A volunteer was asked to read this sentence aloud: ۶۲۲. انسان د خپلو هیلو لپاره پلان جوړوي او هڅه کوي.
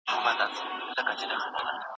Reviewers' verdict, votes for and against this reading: rejected, 0, 2